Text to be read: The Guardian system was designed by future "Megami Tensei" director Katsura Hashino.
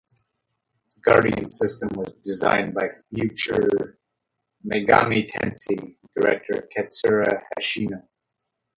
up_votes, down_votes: 0, 2